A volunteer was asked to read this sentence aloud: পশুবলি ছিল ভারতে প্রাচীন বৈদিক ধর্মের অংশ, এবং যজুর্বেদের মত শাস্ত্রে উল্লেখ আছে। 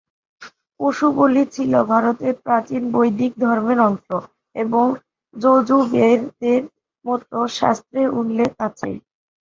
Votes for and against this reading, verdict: 3, 3, rejected